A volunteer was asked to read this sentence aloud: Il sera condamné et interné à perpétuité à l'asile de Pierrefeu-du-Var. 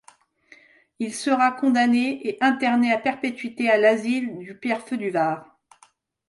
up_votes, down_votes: 1, 2